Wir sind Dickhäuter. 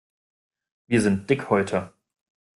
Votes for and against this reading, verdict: 2, 0, accepted